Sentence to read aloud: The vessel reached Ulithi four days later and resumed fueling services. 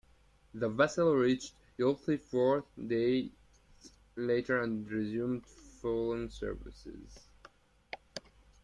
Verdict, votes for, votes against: rejected, 1, 2